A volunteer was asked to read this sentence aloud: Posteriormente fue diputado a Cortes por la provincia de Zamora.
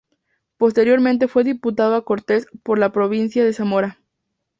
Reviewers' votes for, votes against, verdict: 2, 0, accepted